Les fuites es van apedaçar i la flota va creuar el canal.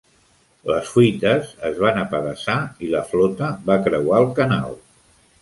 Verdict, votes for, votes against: accepted, 2, 0